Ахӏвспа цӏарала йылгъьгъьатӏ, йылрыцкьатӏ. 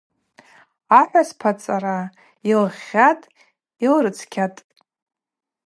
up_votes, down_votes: 2, 2